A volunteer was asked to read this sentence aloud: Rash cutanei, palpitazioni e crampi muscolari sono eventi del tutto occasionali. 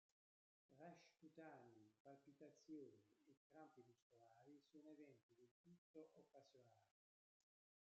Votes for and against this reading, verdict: 0, 2, rejected